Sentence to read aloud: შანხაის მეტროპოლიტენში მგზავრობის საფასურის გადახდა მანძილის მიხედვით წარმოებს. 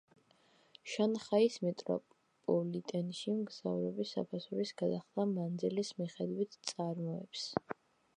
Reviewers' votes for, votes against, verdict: 1, 2, rejected